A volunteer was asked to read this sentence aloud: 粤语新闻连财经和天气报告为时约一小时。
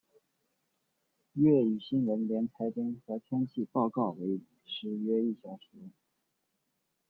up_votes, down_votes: 0, 2